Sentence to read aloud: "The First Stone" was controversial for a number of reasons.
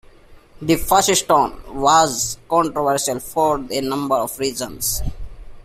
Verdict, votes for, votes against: rejected, 1, 2